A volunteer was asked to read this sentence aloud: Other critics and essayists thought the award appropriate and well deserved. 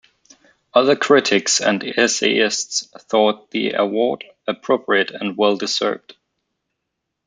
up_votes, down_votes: 2, 0